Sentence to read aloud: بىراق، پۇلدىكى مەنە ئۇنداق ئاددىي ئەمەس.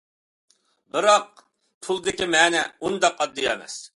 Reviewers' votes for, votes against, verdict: 2, 0, accepted